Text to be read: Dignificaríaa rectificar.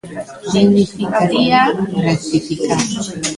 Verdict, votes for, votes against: rejected, 1, 2